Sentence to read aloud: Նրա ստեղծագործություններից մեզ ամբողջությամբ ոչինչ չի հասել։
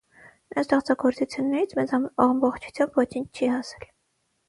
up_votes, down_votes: 0, 6